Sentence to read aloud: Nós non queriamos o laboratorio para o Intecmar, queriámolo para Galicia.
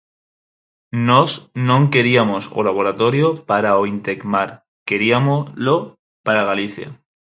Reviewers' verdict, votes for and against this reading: rejected, 0, 4